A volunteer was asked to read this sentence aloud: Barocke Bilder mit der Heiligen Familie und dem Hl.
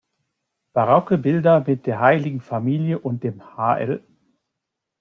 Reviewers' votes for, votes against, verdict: 0, 2, rejected